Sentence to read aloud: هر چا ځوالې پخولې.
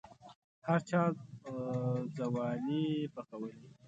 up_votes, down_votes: 1, 2